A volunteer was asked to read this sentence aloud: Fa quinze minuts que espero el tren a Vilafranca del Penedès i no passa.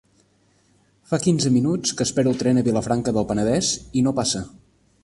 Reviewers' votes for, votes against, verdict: 3, 0, accepted